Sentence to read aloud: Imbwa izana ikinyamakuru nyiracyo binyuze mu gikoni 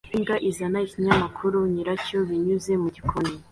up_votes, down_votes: 2, 0